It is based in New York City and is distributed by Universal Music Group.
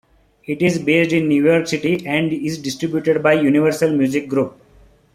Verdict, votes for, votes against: accepted, 3, 0